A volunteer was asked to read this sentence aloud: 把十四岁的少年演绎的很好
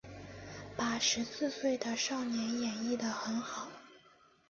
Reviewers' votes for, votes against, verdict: 6, 0, accepted